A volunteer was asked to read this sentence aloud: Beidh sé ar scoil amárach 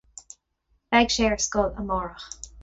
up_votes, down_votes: 4, 0